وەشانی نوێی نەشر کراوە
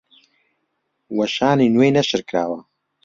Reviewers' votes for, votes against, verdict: 2, 0, accepted